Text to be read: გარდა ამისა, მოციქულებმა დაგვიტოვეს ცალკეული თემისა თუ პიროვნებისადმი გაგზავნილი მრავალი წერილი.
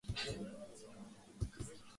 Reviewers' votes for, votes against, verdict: 0, 3, rejected